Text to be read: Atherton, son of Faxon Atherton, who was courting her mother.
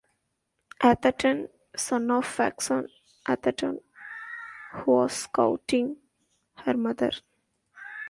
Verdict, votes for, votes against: accepted, 2, 0